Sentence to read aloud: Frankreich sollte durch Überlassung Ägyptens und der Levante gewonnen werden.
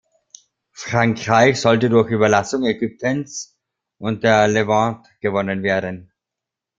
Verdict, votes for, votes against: rejected, 1, 2